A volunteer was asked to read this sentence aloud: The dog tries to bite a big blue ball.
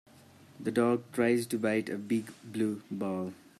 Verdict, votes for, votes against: accepted, 2, 0